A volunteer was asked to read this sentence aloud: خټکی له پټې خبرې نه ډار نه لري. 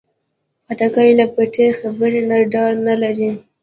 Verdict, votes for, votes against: accepted, 2, 0